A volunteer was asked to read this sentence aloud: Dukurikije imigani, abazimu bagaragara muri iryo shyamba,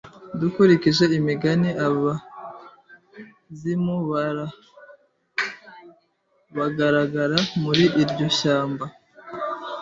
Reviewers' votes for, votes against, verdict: 1, 2, rejected